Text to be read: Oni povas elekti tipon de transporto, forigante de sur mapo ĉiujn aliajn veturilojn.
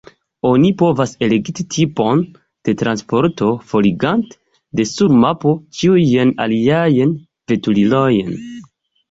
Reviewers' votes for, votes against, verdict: 0, 2, rejected